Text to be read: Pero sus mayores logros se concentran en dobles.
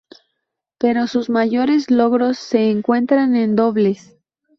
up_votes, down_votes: 0, 2